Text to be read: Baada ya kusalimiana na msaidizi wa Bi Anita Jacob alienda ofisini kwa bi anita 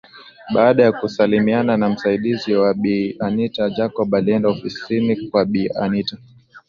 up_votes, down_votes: 2, 0